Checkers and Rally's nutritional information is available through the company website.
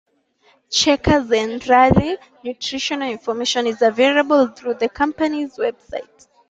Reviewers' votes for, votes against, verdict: 2, 0, accepted